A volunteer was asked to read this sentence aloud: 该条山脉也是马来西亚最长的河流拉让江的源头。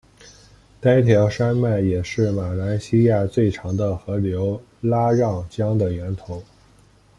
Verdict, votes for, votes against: accepted, 2, 0